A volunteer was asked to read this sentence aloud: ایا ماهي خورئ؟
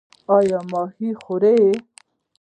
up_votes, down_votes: 1, 2